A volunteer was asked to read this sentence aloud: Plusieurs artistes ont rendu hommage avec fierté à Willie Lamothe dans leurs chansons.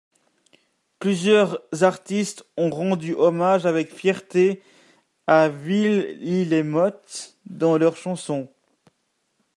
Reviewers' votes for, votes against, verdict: 1, 2, rejected